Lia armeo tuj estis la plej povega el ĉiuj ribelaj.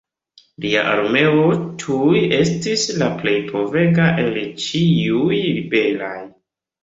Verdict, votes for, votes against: accepted, 2, 0